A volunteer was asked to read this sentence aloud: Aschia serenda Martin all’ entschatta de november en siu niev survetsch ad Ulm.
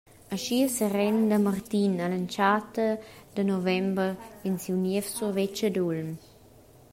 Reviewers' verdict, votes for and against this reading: accepted, 2, 0